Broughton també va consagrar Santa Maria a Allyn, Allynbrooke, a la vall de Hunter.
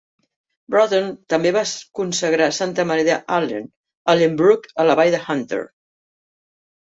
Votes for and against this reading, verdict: 1, 2, rejected